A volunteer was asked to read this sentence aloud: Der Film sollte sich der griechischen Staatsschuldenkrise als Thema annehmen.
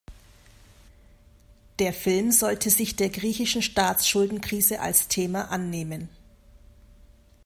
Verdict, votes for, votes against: accepted, 2, 0